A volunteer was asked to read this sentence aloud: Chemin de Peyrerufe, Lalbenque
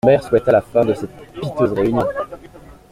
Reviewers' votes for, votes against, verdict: 0, 2, rejected